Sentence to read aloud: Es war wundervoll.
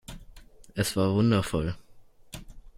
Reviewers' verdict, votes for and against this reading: accepted, 2, 0